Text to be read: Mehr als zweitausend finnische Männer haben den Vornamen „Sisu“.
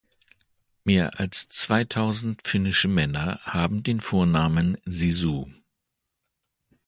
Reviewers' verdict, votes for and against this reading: accepted, 3, 0